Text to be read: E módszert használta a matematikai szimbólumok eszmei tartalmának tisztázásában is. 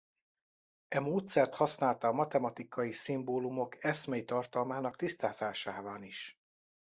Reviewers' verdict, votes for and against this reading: rejected, 0, 2